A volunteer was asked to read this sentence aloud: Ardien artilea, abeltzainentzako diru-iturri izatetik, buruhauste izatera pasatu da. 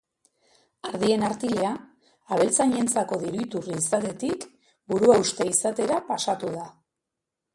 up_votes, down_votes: 2, 1